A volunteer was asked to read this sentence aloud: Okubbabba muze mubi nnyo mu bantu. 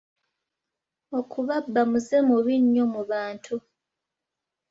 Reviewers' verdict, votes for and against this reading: rejected, 1, 2